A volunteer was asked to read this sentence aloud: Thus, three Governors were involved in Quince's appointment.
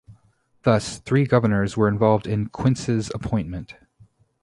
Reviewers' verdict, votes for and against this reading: accepted, 2, 0